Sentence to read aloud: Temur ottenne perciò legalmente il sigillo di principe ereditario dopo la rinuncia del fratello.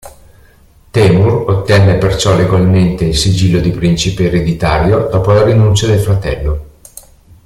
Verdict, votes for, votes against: accepted, 2, 0